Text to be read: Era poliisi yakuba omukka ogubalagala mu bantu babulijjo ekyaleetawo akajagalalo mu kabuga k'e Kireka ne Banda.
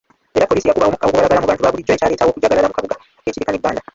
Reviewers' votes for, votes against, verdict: 0, 3, rejected